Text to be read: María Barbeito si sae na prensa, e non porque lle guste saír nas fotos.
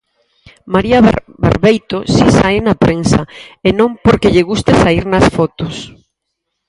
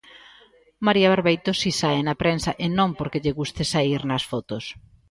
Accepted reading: second